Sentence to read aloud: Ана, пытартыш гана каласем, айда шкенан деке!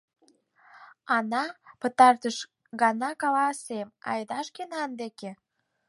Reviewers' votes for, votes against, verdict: 6, 4, accepted